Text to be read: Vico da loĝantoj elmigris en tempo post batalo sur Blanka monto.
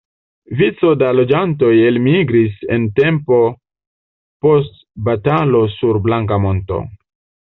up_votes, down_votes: 0, 2